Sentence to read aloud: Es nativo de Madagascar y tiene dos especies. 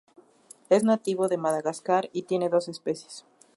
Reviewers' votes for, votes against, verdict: 2, 0, accepted